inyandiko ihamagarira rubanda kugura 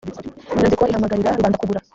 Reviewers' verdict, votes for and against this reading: rejected, 1, 2